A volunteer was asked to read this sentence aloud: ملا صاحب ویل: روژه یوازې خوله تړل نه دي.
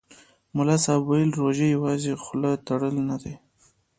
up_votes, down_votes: 1, 2